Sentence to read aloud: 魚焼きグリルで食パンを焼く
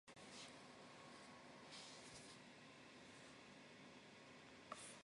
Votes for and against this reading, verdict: 0, 2, rejected